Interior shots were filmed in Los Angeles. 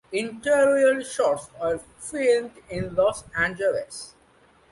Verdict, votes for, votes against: accepted, 2, 1